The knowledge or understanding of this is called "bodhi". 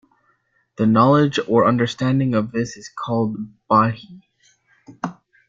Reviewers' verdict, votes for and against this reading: rejected, 0, 2